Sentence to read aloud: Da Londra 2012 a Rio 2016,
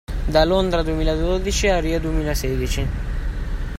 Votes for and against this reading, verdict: 0, 2, rejected